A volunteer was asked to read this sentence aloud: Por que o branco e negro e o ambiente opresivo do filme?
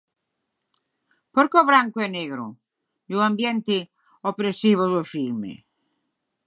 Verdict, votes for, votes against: rejected, 3, 6